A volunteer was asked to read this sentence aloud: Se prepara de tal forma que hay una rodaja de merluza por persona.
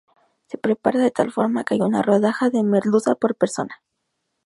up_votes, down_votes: 2, 2